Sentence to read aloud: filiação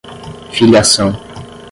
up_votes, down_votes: 5, 5